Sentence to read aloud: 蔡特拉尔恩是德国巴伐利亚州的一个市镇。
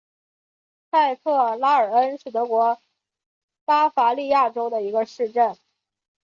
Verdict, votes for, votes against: accepted, 5, 0